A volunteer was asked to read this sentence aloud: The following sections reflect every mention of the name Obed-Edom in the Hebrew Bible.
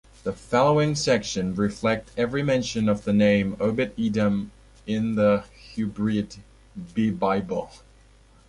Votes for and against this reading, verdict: 1, 2, rejected